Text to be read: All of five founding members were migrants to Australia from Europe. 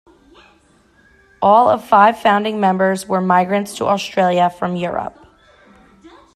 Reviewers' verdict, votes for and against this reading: accepted, 2, 0